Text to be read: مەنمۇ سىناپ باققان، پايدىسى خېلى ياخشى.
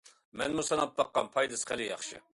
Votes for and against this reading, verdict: 2, 0, accepted